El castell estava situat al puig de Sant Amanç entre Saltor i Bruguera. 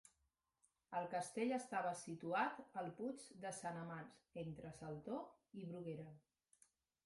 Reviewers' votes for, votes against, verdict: 4, 0, accepted